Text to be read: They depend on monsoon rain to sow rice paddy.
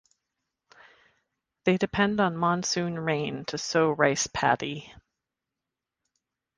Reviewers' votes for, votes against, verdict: 2, 0, accepted